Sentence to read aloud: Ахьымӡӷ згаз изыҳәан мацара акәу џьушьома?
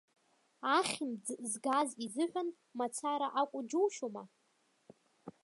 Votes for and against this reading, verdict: 1, 2, rejected